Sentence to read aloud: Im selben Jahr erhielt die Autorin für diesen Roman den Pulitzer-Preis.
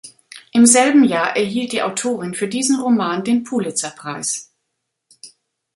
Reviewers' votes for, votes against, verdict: 2, 0, accepted